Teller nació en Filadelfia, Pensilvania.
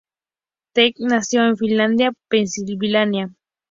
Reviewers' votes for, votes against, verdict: 2, 0, accepted